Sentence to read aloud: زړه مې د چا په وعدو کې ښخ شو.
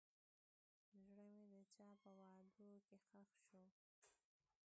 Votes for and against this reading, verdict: 0, 2, rejected